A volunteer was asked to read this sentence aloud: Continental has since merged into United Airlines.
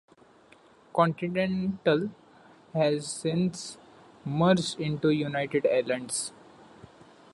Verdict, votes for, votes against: rejected, 0, 2